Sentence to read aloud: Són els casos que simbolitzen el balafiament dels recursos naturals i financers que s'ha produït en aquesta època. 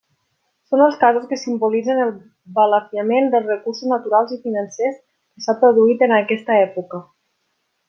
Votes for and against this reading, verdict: 1, 2, rejected